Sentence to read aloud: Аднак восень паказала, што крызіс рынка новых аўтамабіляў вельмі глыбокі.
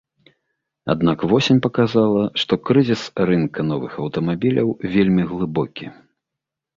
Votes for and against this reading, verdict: 3, 0, accepted